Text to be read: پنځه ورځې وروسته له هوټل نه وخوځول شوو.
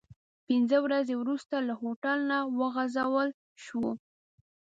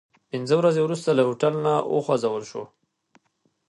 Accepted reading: second